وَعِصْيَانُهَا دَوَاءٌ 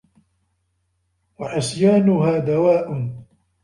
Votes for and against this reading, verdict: 1, 2, rejected